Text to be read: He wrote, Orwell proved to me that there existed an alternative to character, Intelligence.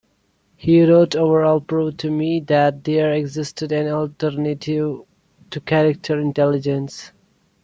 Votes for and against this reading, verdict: 1, 2, rejected